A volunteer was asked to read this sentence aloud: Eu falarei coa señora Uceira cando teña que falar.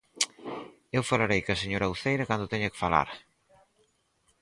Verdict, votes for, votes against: accepted, 4, 0